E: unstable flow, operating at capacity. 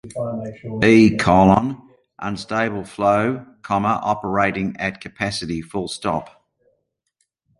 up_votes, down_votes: 1, 2